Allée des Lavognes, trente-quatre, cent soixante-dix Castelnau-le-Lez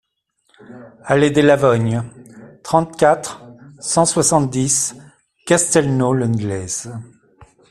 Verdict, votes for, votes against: rejected, 0, 2